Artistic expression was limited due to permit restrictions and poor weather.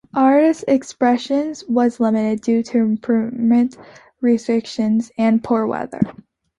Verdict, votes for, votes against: rejected, 0, 2